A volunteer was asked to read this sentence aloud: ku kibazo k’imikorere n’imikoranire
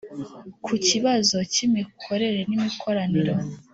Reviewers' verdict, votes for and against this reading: rejected, 1, 2